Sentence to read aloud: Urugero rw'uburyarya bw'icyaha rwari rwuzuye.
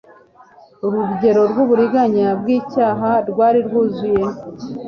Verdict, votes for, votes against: rejected, 0, 3